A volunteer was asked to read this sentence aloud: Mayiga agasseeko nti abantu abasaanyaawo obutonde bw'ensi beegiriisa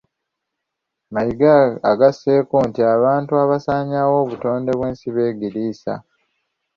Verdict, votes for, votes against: accepted, 2, 0